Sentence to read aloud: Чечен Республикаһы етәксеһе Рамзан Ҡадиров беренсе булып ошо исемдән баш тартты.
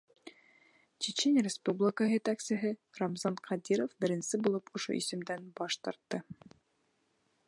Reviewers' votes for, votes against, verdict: 3, 0, accepted